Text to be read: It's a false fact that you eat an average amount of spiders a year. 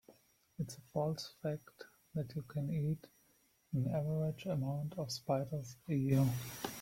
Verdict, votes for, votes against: rejected, 1, 3